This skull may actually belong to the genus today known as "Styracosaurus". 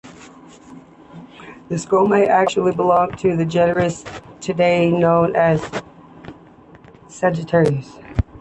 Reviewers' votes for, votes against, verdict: 1, 2, rejected